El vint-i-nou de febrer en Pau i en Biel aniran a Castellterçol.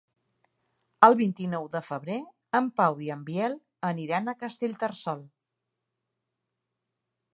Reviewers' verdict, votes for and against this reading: accepted, 3, 0